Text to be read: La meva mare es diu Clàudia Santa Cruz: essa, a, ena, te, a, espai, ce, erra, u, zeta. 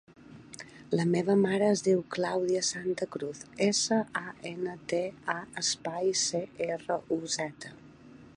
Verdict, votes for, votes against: accepted, 3, 0